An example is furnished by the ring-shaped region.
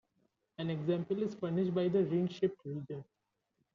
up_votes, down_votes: 2, 0